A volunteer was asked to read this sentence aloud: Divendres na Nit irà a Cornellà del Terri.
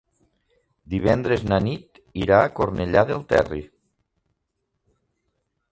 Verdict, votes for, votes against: accepted, 3, 1